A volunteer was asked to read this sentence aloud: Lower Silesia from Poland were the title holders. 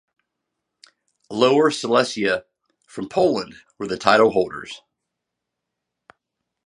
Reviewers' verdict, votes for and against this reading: accepted, 2, 0